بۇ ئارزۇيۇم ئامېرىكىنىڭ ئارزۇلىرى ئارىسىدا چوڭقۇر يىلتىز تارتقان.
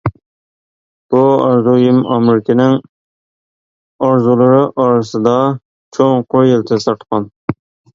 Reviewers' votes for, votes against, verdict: 1, 2, rejected